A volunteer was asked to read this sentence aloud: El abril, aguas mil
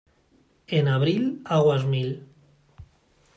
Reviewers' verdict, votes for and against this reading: rejected, 1, 2